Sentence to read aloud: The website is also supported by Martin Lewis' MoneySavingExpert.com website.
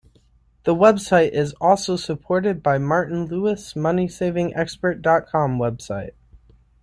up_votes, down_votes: 2, 0